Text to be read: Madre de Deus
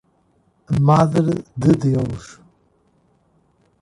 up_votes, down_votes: 2, 1